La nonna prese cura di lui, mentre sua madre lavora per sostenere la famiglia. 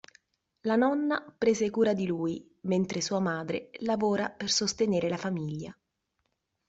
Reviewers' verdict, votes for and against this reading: accepted, 2, 0